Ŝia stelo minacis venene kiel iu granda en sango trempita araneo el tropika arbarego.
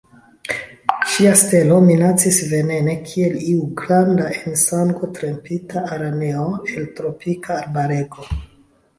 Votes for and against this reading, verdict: 1, 2, rejected